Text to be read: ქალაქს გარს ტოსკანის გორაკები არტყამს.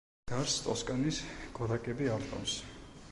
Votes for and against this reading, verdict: 0, 2, rejected